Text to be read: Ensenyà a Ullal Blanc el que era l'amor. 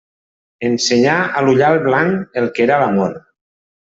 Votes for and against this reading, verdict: 0, 2, rejected